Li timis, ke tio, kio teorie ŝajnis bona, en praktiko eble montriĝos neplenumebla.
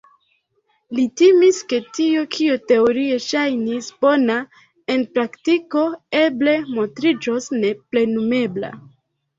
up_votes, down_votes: 2, 0